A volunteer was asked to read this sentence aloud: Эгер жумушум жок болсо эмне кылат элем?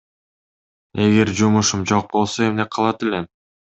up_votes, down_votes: 2, 0